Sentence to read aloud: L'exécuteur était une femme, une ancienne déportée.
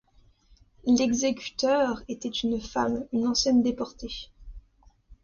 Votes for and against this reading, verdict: 2, 0, accepted